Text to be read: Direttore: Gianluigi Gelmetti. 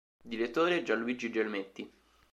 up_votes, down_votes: 2, 0